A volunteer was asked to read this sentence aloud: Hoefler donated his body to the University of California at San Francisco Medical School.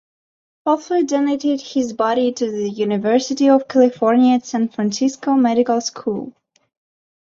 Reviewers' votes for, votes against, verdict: 2, 1, accepted